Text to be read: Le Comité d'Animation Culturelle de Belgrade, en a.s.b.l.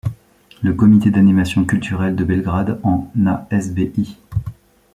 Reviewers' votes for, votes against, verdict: 1, 2, rejected